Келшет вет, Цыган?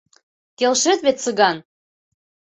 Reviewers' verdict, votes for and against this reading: accepted, 2, 0